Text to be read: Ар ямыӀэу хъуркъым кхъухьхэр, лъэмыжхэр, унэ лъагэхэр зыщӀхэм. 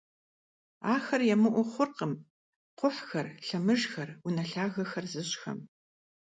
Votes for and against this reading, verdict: 1, 2, rejected